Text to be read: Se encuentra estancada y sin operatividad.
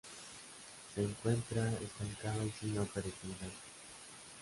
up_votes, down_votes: 0, 3